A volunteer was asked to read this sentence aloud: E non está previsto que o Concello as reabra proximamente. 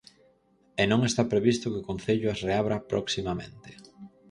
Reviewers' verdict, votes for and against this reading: accepted, 4, 0